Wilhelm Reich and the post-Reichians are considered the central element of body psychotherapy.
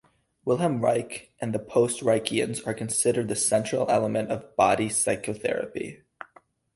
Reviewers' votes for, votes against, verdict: 0, 2, rejected